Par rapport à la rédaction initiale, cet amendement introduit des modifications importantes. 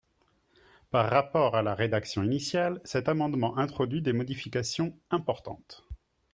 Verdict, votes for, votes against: accepted, 3, 0